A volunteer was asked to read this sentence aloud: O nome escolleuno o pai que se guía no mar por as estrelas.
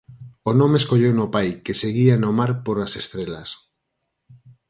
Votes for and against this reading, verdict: 4, 2, accepted